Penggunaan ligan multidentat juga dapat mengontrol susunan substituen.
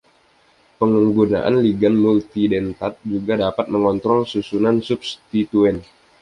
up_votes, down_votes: 2, 0